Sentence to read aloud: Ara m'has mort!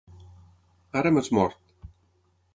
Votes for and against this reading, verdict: 9, 0, accepted